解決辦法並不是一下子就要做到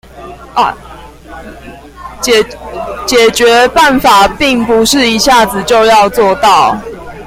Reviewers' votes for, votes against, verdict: 0, 2, rejected